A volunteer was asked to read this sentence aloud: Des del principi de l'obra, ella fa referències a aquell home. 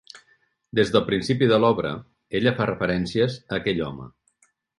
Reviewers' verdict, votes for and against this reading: accepted, 3, 0